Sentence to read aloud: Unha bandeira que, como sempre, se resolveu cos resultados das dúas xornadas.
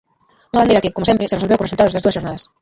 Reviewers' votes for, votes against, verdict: 0, 2, rejected